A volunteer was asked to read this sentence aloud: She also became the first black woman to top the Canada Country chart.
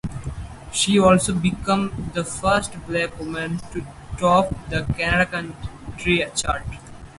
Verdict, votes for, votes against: rejected, 0, 4